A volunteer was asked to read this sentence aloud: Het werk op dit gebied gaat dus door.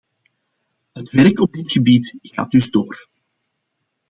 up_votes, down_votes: 2, 0